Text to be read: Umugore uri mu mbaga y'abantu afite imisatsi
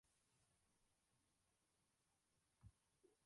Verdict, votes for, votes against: rejected, 0, 2